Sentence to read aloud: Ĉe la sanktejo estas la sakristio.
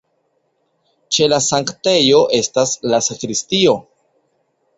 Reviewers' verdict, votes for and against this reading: accepted, 2, 0